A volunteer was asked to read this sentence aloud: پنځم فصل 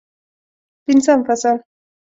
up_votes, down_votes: 2, 0